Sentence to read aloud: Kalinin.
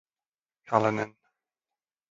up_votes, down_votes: 0, 2